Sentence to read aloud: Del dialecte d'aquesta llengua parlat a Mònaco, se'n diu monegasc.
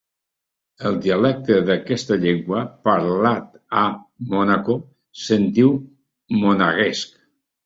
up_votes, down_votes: 0, 3